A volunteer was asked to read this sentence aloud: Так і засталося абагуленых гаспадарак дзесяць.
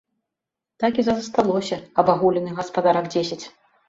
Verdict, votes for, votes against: rejected, 1, 2